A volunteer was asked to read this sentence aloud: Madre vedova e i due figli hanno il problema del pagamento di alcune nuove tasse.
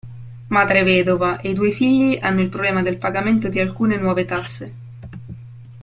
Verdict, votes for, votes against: accepted, 2, 0